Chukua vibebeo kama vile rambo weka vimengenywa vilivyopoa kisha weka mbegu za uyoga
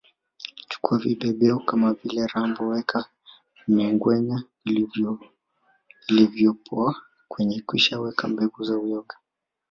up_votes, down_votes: 1, 2